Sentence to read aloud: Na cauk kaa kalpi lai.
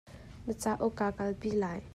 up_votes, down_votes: 2, 0